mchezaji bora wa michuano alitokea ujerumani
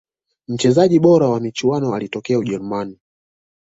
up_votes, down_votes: 2, 0